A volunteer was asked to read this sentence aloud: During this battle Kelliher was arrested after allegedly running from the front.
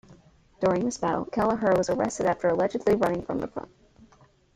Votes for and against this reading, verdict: 1, 2, rejected